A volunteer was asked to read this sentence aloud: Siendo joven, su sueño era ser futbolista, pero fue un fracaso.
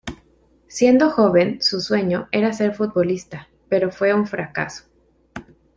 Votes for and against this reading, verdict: 2, 0, accepted